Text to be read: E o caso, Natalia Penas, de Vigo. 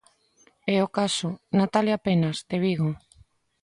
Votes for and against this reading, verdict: 2, 0, accepted